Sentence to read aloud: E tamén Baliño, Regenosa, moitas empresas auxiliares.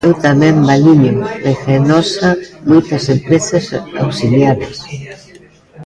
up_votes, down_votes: 2, 0